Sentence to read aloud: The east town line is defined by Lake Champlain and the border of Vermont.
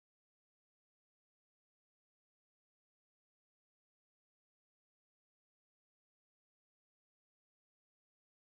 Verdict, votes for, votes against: rejected, 0, 2